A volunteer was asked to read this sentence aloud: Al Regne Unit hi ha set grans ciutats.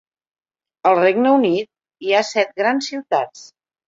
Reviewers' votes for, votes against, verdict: 4, 0, accepted